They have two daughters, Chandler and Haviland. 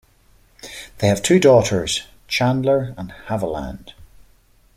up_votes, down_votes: 2, 0